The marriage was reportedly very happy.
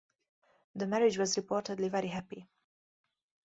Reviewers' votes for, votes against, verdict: 0, 4, rejected